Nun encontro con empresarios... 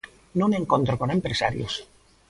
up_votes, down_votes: 1, 2